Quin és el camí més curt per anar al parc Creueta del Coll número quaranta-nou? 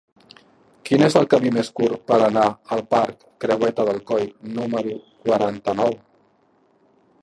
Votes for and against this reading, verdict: 1, 2, rejected